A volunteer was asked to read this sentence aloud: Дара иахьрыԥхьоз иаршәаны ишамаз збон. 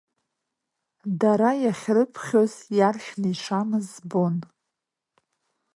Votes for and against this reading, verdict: 0, 2, rejected